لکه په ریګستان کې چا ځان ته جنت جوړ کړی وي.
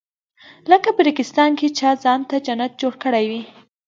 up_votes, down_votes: 2, 0